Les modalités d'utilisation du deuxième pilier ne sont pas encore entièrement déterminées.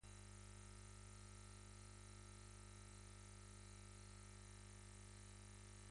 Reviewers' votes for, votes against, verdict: 0, 2, rejected